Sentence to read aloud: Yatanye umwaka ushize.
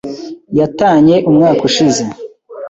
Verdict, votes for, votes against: accepted, 2, 0